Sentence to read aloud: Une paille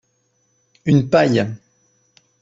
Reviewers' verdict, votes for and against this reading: accepted, 4, 0